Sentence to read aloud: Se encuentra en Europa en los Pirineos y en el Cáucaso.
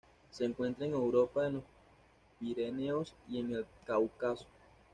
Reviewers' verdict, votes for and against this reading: rejected, 1, 2